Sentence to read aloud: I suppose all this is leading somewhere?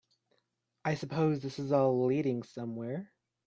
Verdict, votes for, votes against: rejected, 1, 2